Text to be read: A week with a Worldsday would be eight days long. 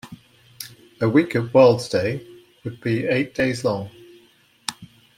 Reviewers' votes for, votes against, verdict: 2, 1, accepted